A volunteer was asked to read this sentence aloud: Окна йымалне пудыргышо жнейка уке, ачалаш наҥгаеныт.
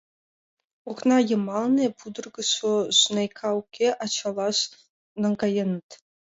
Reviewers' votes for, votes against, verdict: 2, 1, accepted